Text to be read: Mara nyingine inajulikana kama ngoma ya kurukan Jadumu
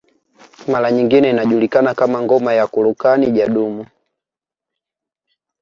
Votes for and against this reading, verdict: 2, 0, accepted